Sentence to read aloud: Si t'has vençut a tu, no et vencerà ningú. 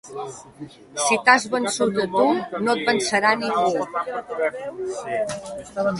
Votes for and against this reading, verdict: 2, 1, accepted